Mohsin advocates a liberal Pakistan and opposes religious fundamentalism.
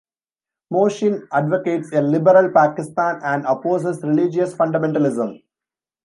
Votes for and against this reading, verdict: 2, 0, accepted